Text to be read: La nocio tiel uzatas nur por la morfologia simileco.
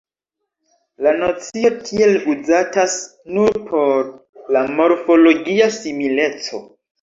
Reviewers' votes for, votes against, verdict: 3, 1, accepted